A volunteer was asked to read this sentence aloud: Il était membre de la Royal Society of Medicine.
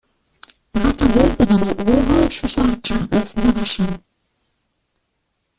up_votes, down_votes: 0, 2